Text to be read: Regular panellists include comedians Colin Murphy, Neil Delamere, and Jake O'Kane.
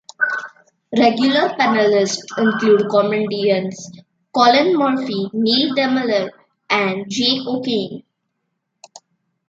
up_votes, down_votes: 2, 1